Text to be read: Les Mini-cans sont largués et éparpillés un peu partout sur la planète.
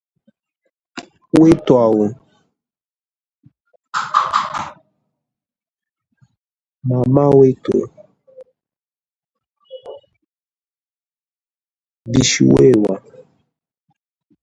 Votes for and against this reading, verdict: 0, 2, rejected